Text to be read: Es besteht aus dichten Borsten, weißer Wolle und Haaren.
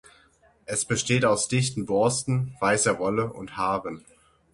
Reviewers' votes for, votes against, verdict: 6, 0, accepted